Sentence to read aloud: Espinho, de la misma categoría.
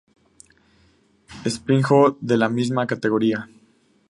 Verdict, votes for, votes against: accepted, 2, 0